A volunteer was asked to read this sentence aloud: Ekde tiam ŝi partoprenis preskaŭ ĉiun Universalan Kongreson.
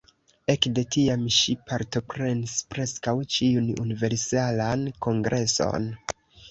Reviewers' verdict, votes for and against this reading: accepted, 2, 0